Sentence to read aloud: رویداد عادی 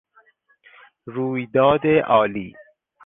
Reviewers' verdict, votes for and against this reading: rejected, 2, 4